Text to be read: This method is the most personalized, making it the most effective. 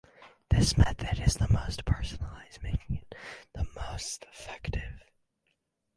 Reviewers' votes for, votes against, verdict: 4, 2, accepted